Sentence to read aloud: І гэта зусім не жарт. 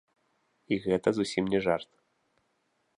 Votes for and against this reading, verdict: 2, 0, accepted